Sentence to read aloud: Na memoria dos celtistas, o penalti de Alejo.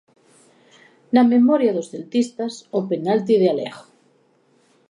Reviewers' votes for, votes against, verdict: 2, 0, accepted